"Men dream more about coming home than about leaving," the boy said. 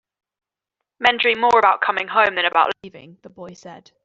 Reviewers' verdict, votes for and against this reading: rejected, 1, 2